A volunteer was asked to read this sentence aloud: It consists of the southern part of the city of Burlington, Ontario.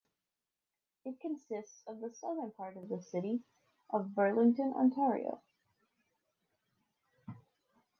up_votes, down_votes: 2, 0